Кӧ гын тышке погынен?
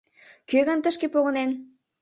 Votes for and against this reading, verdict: 2, 0, accepted